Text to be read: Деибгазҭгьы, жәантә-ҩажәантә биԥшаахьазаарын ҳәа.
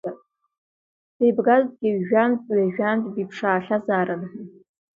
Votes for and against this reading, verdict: 1, 2, rejected